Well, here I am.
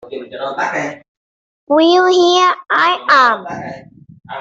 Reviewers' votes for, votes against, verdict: 0, 2, rejected